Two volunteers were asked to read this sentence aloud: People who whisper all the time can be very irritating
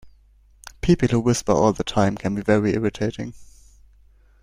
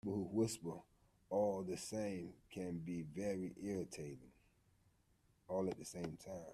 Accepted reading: first